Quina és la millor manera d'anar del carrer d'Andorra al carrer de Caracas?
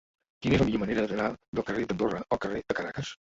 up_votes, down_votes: 1, 2